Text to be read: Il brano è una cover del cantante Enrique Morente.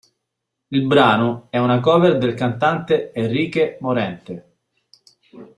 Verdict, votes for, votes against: rejected, 0, 2